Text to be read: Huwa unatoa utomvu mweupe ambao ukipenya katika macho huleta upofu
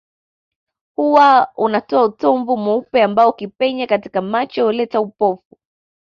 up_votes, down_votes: 2, 0